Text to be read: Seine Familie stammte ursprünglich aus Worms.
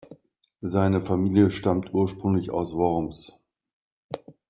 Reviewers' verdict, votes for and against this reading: rejected, 1, 2